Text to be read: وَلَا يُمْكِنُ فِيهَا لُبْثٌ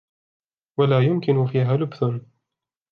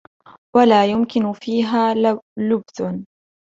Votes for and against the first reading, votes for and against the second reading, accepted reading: 0, 2, 2, 1, second